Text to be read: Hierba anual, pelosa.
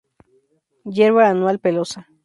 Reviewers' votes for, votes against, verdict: 2, 0, accepted